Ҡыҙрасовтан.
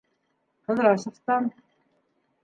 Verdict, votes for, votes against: accepted, 2, 1